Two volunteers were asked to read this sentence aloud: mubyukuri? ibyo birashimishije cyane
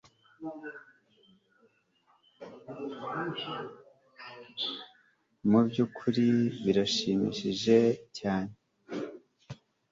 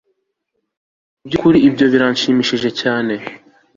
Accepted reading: second